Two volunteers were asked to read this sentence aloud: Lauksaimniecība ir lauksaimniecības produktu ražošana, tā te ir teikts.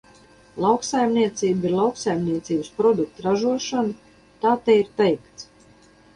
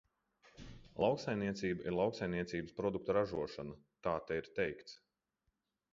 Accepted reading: second